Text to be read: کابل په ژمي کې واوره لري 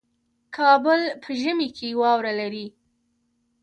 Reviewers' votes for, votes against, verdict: 1, 2, rejected